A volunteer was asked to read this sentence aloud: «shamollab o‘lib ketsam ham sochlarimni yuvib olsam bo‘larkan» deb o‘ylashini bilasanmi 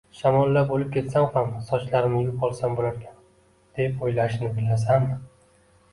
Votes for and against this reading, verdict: 2, 0, accepted